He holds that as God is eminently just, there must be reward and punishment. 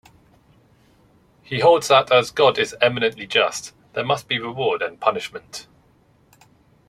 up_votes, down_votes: 2, 0